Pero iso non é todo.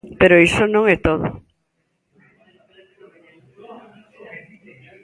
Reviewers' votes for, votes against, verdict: 0, 2, rejected